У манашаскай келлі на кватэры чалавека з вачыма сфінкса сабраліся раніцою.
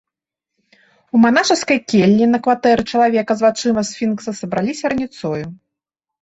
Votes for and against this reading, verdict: 2, 0, accepted